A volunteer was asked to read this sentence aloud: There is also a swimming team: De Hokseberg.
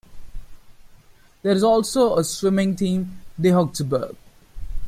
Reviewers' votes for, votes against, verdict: 2, 0, accepted